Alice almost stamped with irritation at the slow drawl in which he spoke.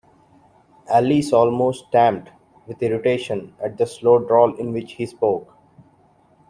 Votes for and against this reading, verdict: 2, 0, accepted